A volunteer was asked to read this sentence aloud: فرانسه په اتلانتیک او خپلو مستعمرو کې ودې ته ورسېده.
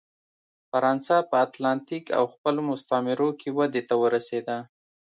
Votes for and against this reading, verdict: 2, 0, accepted